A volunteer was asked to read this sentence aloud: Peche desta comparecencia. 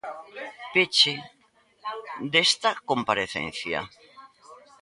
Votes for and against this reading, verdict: 0, 2, rejected